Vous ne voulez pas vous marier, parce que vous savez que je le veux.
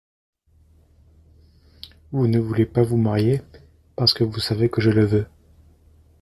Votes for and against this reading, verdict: 2, 1, accepted